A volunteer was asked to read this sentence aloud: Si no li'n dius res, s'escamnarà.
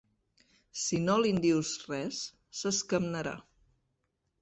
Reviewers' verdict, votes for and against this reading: accepted, 2, 0